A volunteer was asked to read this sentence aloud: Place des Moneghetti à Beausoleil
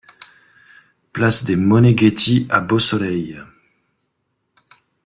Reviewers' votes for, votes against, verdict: 2, 0, accepted